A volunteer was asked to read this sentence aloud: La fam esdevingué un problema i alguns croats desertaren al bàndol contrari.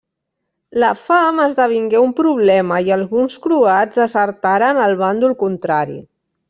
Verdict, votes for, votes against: rejected, 1, 2